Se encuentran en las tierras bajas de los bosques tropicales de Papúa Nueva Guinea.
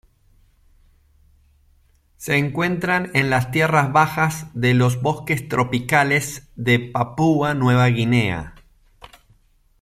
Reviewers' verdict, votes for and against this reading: accepted, 2, 0